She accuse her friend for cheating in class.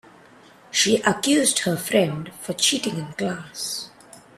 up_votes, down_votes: 2, 0